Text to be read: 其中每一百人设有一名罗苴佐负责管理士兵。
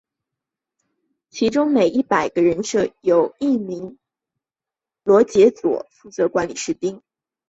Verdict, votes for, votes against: accepted, 3, 2